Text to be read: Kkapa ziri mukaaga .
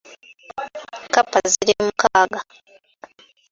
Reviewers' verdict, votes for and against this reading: rejected, 0, 2